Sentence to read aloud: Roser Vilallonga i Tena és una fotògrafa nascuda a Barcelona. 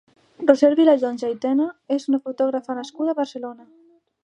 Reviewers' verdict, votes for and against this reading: rejected, 1, 2